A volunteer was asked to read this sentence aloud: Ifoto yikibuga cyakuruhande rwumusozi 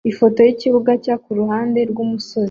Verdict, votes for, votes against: accepted, 2, 0